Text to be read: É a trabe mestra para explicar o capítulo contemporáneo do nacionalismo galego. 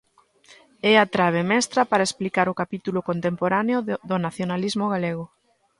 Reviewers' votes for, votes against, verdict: 0, 2, rejected